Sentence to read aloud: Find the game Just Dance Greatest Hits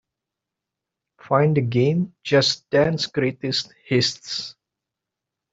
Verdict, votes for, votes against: rejected, 1, 2